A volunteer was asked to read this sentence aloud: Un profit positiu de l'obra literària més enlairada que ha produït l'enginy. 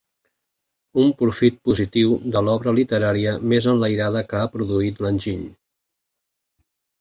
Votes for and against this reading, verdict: 3, 0, accepted